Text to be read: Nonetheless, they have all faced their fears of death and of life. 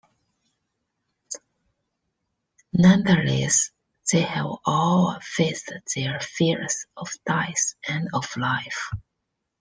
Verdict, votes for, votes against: rejected, 1, 2